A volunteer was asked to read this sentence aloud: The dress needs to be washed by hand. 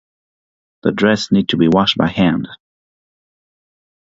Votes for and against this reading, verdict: 6, 0, accepted